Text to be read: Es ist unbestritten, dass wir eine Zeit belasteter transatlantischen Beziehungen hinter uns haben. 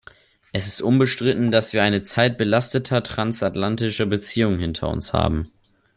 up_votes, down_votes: 1, 2